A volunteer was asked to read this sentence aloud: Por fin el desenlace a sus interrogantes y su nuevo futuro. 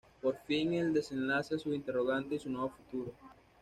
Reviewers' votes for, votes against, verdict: 2, 0, accepted